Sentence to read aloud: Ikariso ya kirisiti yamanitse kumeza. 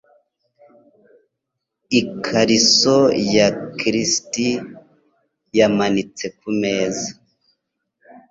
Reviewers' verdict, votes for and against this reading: accepted, 2, 0